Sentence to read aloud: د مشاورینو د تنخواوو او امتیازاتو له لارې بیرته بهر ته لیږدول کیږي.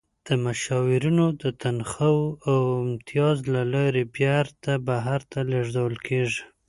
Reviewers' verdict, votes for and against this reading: rejected, 1, 2